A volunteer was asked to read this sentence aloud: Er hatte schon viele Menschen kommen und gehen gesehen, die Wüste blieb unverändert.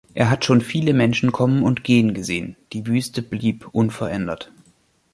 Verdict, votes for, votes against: rejected, 1, 2